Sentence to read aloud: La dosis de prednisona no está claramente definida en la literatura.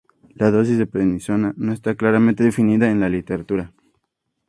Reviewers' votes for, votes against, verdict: 2, 0, accepted